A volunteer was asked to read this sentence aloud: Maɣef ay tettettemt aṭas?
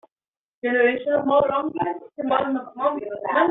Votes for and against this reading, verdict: 1, 2, rejected